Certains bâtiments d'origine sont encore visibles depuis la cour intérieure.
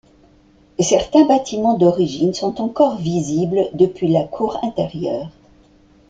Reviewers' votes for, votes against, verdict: 2, 0, accepted